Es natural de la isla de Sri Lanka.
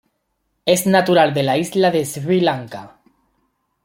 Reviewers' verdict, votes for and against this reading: accepted, 2, 1